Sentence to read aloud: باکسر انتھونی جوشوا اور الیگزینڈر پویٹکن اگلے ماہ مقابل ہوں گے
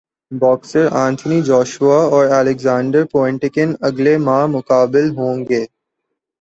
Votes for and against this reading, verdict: 2, 0, accepted